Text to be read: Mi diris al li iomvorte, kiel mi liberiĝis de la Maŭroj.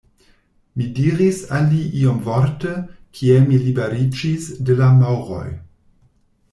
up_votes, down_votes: 2, 0